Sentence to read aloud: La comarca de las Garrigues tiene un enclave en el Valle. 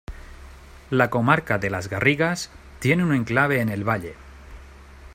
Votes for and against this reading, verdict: 1, 2, rejected